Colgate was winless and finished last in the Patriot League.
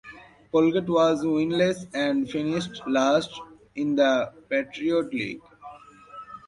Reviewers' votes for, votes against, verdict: 2, 0, accepted